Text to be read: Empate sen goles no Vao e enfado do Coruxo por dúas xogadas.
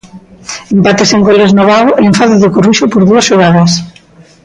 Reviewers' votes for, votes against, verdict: 2, 0, accepted